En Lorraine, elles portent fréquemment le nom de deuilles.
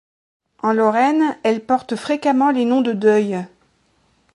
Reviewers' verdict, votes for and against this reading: rejected, 1, 2